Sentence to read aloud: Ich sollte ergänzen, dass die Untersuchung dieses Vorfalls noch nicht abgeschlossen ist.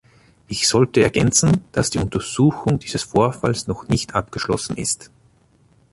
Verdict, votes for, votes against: accepted, 2, 0